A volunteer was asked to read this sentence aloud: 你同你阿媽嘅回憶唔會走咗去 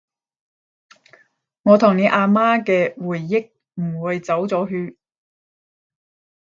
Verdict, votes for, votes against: rejected, 0, 10